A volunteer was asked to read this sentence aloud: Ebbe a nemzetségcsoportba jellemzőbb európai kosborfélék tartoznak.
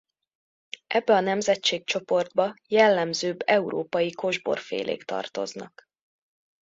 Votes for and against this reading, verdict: 2, 0, accepted